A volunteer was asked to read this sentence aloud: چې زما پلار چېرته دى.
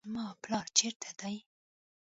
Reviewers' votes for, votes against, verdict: 1, 2, rejected